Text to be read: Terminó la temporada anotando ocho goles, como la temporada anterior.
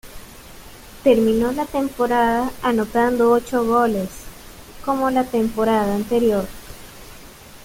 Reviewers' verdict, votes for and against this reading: rejected, 0, 2